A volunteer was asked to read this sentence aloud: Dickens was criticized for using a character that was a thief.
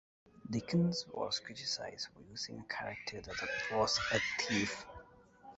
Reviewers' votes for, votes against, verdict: 0, 2, rejected